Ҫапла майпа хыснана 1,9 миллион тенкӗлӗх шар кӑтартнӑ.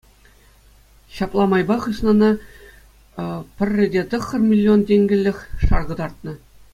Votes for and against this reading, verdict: 0, 2, rejected